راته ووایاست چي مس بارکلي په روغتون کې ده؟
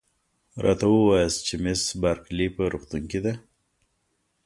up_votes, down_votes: 2, 0